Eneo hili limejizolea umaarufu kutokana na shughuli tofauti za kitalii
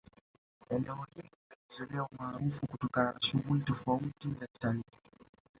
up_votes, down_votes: 0, 2